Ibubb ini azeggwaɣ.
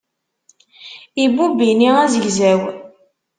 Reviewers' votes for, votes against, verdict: 1, 2, rejected